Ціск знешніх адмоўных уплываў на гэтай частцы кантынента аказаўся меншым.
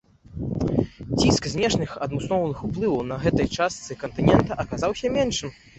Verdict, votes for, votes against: rejected, 1, 2